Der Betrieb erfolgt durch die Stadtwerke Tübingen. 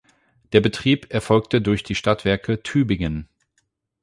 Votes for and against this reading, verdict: 0, 8, rejected